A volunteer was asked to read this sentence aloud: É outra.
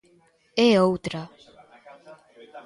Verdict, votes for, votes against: accepted, 2, 0